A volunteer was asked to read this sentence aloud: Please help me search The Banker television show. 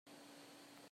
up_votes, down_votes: 0, 2